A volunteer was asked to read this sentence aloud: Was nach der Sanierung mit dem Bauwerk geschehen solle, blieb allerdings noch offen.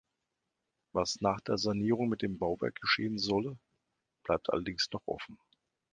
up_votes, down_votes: 0, 2